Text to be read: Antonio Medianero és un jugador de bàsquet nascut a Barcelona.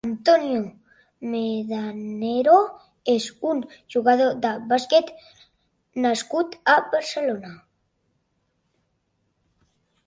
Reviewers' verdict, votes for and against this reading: rejected, 0, 2